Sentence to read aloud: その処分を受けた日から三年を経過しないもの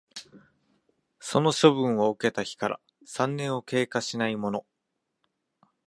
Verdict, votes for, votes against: rejected, 1, 2